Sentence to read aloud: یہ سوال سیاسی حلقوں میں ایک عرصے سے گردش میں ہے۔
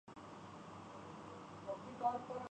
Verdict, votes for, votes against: rejected, 0, 2